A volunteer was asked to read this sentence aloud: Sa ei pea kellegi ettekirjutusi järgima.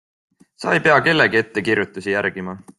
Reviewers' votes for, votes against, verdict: 2, 0, accepted